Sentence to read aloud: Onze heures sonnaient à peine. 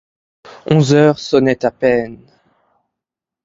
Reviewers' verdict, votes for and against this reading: accepted, 2, 0